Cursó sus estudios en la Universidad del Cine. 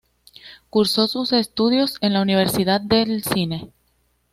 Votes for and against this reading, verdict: 2, 0, accepted